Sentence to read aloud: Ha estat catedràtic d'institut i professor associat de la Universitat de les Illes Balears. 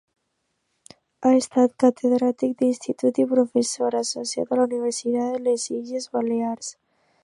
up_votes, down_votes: 2, 3